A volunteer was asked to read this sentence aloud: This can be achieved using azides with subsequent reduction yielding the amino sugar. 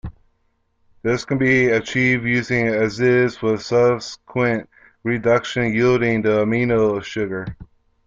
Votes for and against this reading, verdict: 1, 2, rejected